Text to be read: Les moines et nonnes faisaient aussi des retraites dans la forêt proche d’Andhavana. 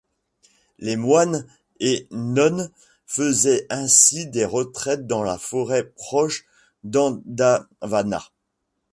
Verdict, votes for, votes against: rejected, 0, 2